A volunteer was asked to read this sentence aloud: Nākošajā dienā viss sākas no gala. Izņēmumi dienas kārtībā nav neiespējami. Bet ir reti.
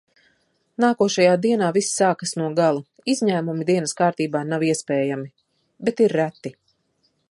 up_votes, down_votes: 1, 2